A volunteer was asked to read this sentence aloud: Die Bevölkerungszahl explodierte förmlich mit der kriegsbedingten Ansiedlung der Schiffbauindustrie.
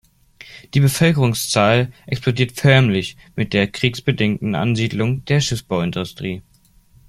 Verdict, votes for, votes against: rejected, 0, 2